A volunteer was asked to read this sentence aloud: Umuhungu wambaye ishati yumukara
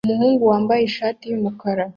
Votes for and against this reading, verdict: 2, 0, accepted